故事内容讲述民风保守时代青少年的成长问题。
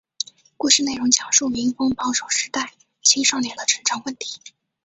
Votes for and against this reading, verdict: 2, 0, accepted